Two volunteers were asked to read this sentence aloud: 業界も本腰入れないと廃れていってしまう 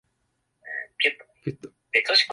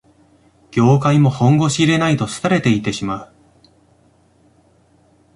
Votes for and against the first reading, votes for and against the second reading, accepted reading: 0, 2, 2, 1, second